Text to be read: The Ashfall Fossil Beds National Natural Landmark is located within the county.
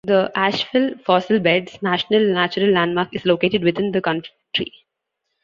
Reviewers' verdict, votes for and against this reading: rejected, 0, 2